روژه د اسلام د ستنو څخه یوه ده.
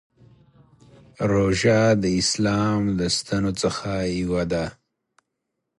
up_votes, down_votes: 2, 0